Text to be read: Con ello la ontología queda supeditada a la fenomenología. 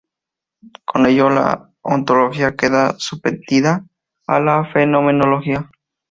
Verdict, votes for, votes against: rejected, 0, 4